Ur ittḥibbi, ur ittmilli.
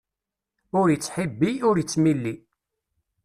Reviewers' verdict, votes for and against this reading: accepted, 2, 0